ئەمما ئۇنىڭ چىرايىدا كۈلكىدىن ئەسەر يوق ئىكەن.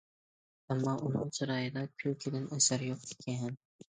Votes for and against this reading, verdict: 0, 2, rejected